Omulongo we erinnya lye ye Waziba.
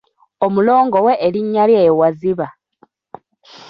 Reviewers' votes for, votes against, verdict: 2, 0, accepted